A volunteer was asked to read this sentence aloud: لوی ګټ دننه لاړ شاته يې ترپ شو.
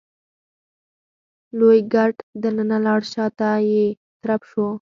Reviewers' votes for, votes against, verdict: 4, 0, accepted